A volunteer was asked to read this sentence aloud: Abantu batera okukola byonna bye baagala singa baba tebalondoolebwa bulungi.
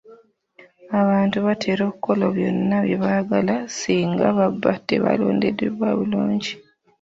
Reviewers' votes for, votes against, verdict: 2, 0, accepted